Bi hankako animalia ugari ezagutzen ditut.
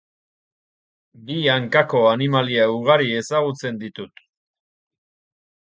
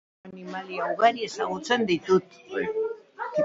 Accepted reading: first